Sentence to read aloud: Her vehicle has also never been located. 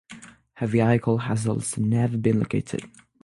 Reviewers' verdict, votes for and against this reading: rejected, 0, 3